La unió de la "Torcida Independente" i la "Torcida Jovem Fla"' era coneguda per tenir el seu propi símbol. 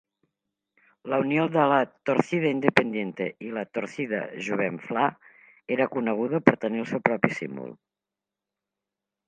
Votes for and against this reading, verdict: 1, 2, rejected